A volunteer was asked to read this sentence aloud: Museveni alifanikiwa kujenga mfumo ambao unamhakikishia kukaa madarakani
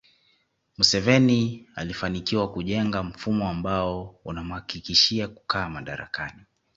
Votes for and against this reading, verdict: 2, 0, accepted